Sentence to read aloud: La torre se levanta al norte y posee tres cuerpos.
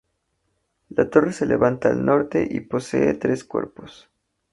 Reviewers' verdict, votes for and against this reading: accepted, 2, 0